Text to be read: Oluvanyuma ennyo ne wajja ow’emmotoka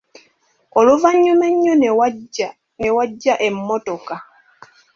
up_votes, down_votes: 0, 2